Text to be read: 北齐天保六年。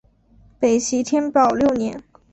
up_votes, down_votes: 2, 0